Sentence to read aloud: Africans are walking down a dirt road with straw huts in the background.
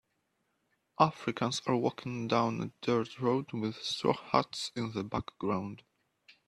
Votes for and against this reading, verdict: 0, 2, rejected